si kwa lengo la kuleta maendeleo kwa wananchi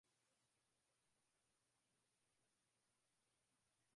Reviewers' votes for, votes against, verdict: 2, 5, rejected